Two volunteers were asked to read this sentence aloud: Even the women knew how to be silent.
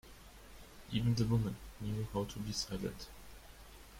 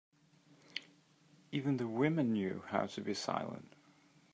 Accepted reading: second